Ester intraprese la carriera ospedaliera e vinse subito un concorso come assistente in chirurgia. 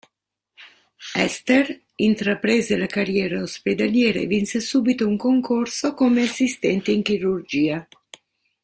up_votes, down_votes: 2, 0